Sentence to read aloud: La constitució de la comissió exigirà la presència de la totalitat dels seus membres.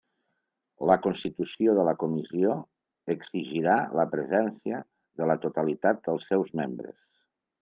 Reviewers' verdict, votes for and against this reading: accepted, 3, 1